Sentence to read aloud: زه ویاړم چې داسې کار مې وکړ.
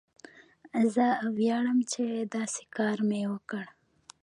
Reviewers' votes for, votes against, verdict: 2, 1, accepted